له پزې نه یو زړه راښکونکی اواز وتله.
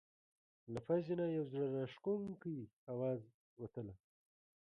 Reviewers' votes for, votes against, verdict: 0, 2, rejected